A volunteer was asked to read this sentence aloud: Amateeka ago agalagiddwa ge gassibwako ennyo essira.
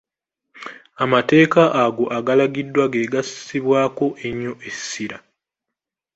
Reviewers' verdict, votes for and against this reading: accepted, 2, 0